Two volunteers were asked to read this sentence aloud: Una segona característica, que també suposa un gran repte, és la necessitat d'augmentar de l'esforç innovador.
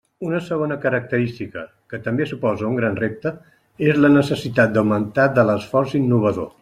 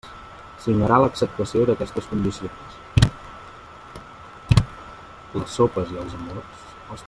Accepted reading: first